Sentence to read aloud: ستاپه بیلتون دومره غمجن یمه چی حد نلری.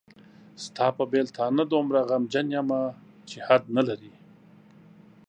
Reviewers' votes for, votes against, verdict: 0, 2, rejected